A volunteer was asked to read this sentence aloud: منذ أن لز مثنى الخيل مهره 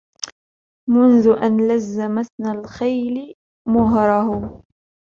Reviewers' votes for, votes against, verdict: 1, 2, rejected